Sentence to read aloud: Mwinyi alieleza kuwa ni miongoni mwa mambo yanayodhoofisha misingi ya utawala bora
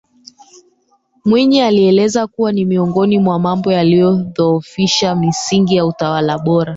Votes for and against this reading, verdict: 1, 2, rejected